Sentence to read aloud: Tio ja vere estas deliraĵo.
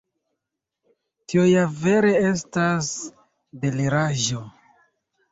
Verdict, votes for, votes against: accepted, 2, 1